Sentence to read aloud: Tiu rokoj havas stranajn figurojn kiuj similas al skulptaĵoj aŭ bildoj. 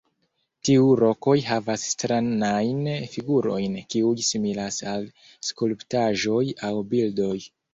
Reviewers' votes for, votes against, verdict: 2, 0, accepted